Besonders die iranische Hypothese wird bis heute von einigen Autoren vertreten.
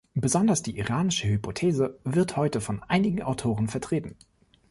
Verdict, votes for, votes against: rejected, 0, 2